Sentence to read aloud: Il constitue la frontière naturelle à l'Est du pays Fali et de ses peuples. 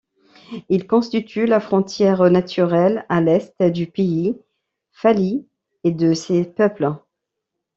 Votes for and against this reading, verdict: 1, 2, rejected